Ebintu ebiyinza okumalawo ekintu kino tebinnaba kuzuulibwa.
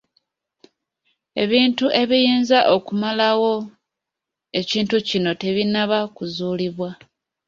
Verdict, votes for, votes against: accepted, 2, 1